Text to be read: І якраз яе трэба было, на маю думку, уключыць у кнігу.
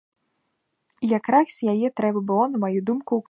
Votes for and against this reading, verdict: 0, 2, rejected